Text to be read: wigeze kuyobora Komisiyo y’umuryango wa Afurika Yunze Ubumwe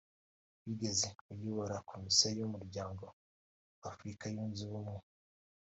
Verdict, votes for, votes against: accepted, 2, 1